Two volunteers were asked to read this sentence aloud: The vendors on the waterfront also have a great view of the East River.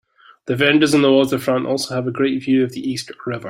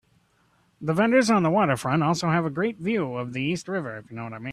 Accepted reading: first